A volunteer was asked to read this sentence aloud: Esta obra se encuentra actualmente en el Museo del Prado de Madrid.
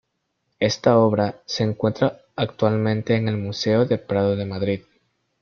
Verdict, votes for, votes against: rejected, 1, 2